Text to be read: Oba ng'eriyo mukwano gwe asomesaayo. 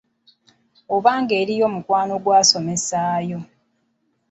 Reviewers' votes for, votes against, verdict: 0, 2, rejected